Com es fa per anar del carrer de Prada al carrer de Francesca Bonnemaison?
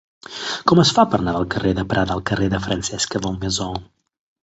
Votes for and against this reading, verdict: 1, 2, rejected